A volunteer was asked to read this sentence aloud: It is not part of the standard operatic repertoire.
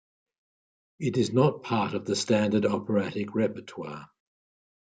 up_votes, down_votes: 2, 0